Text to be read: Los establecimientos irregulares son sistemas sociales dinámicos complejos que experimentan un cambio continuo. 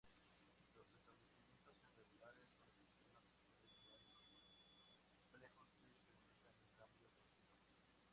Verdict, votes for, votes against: rejected, 0, 2